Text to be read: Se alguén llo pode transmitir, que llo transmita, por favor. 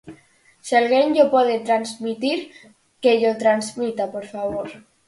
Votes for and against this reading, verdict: 4, 0, accepted